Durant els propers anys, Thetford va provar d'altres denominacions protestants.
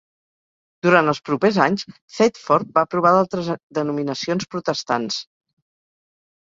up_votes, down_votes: 0, 4